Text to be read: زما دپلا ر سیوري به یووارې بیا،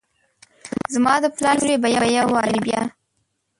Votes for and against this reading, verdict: 0, 2, rejected